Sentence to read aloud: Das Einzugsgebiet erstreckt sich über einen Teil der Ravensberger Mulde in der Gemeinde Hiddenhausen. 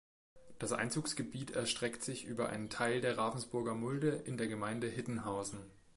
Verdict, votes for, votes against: rejected, 0, 2